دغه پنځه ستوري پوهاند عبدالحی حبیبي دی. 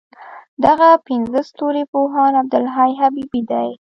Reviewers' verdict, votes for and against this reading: rejected, 0, 2